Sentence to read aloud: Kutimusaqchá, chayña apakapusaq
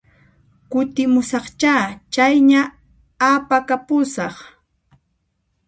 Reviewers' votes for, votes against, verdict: 0, 2, rejected